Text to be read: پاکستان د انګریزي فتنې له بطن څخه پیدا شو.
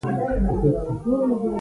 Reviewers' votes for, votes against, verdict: 0, 2, rejected